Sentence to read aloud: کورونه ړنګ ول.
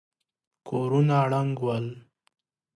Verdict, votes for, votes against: accepted, 2, 0